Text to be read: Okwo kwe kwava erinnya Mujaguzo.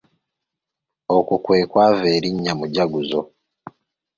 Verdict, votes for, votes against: accepted, 3, 0